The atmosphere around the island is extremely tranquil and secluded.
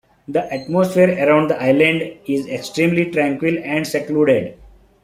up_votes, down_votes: 2, 0